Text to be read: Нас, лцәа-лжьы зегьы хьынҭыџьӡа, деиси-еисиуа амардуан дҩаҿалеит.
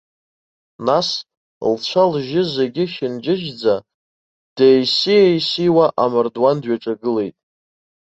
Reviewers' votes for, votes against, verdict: 1, 2, rejected